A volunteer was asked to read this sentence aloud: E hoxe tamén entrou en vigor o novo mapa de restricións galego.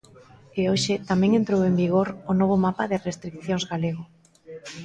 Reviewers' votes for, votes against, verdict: 2, 0, accepted